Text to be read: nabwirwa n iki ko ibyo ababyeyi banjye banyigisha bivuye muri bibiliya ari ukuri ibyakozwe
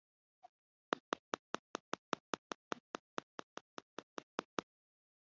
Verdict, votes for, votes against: rejected, 0, 2